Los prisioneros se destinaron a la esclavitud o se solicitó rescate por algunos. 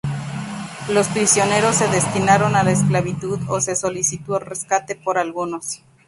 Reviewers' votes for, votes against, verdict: 2, 0, accepted